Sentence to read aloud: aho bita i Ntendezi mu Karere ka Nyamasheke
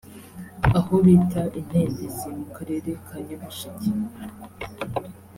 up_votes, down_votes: 2, 0